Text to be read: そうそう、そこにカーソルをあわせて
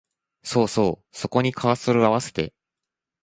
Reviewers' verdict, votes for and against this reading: accepted, 2, 0